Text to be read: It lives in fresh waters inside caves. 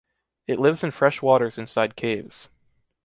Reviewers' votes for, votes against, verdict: 2, 0, accepted